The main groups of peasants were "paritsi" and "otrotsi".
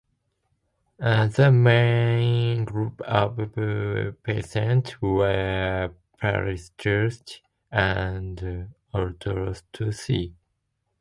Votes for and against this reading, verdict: 1, 2, rejected